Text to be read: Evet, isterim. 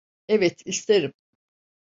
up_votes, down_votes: 2, 0